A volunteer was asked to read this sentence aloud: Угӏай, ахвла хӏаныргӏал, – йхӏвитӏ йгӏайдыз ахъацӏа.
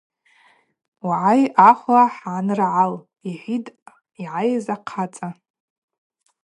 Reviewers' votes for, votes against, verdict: 2, 0, accepted